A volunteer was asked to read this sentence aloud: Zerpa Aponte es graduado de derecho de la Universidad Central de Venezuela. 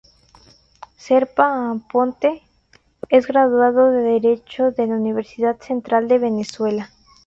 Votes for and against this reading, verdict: 2, 0, accepted